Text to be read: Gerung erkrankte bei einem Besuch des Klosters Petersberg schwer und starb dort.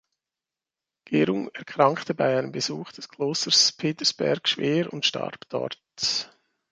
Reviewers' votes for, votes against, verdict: 2, 1, accepted